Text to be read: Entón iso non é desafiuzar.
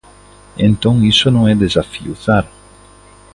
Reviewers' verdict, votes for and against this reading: accepted, 2, 0